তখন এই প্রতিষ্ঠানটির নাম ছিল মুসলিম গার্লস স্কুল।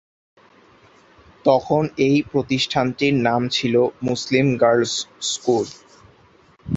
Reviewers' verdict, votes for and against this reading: rejected, 0, 2